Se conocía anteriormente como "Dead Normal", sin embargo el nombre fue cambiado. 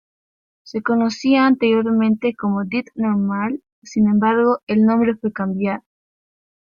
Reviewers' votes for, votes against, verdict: 1, 2, rejected